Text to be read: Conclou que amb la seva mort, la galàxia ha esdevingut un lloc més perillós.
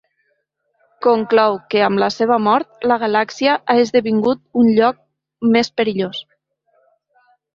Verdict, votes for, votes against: accepted, 2, 0